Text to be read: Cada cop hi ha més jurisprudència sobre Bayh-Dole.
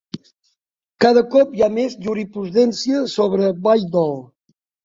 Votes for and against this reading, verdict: 0, 2, rejected